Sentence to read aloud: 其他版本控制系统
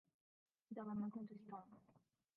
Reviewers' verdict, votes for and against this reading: rejected, 1, 4